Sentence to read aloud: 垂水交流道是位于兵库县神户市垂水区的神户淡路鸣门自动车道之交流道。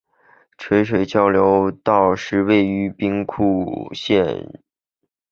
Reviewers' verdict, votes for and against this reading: rejected, 0, 3